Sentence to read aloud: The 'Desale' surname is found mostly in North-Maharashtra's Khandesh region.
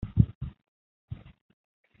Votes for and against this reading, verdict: 0, 2, rejected